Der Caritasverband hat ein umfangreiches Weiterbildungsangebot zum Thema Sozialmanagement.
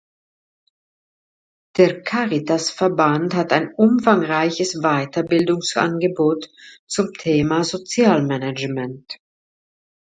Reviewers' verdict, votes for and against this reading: accepted, 2, 0